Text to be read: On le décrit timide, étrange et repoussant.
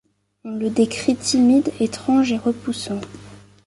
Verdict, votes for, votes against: accepted, 2, 0